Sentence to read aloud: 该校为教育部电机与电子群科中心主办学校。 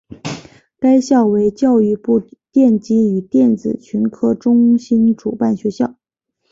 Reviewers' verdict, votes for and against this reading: accepted, 4, 1